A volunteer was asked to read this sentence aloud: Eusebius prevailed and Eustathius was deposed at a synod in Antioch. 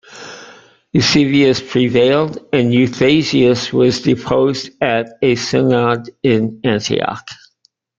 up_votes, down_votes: 2, 0